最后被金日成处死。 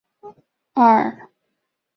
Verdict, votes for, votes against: rejected, 1, 5